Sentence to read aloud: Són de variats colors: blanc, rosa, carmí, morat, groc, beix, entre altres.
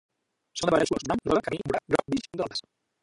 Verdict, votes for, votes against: rejected, 0, 3